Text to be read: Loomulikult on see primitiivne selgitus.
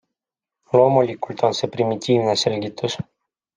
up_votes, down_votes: 2, 0